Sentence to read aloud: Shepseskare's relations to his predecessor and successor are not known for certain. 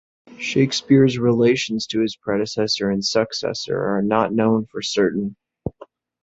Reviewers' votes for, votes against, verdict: 0, 2, rejected